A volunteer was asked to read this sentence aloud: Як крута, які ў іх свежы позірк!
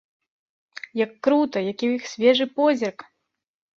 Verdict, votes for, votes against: accepted, 2, 0